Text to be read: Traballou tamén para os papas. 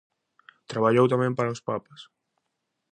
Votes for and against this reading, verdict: 2, 0, accepted